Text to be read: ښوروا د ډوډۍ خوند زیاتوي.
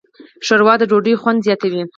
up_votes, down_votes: 4, 0